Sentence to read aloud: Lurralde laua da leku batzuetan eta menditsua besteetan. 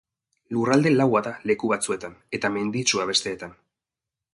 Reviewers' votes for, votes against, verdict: 2, 0, accepted